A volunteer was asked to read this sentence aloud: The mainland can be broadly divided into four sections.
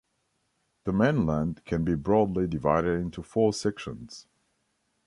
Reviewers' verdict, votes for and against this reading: rejected, 1, 2